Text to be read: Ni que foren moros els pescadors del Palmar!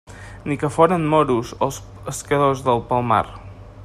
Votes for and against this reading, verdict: 1, 2, rejected